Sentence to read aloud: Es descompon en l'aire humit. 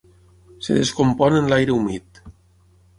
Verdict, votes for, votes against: rejected, 0, 6